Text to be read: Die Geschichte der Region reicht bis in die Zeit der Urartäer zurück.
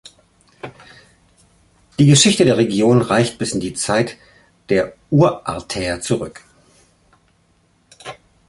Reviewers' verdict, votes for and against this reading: accepted, 2, 0